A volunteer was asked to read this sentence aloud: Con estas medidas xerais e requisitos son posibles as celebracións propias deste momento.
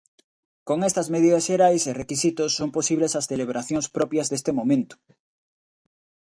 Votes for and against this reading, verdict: 2, 0, accepted